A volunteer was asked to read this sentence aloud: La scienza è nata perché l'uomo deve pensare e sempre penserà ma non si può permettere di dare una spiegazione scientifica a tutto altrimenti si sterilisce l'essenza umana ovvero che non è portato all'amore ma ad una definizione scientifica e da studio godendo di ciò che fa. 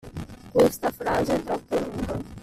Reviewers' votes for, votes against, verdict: 0, 2, rejected